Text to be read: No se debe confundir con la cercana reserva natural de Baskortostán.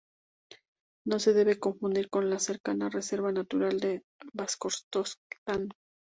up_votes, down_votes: 2, 4